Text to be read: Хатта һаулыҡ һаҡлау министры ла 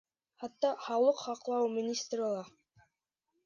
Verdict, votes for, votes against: accepted, 2, 0